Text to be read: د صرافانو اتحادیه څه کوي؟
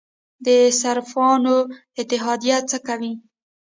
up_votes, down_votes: 1, 2